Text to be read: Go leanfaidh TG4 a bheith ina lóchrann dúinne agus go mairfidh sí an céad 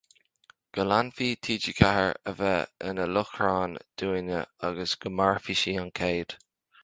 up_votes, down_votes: 0, 2